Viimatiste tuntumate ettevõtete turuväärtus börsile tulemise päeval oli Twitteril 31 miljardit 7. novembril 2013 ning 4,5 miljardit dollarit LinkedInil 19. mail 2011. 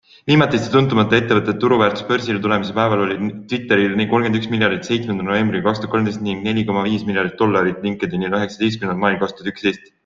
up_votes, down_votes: 0, 2